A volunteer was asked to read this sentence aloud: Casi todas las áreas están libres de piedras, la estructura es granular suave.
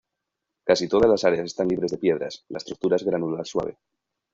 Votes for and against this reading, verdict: 1, 2, rejected